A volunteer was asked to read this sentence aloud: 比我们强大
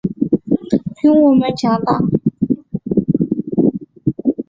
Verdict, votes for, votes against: accepted, 2, 0